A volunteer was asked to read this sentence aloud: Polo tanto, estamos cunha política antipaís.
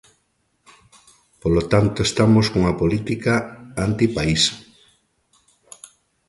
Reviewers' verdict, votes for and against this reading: accepted, 3, 0